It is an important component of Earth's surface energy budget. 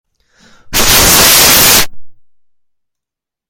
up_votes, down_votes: 0, 2